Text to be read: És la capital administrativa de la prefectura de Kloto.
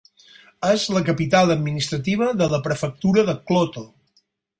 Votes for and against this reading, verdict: 4, 0, accepted